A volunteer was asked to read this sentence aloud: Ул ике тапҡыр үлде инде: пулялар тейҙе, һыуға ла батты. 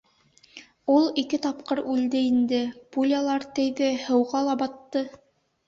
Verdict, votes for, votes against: accepted, 2, 0